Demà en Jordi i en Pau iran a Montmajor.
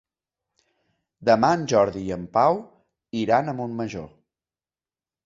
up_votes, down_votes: 3, 0